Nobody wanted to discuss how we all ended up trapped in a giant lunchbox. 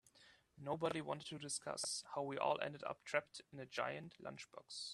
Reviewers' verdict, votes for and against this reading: rejected, 0, 2